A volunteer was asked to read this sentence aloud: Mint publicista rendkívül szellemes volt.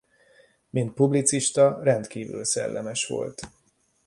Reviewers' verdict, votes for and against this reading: accepted, 2, 0